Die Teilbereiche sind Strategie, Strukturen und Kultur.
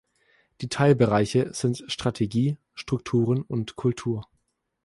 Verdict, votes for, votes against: accepted, 2, 0